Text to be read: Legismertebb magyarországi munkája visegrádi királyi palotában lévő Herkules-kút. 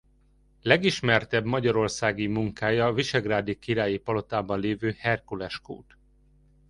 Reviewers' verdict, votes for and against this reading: accepted, 2, 0